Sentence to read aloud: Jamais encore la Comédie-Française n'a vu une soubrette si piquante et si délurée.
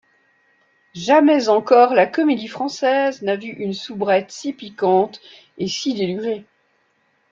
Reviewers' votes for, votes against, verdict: 2, 0, accepted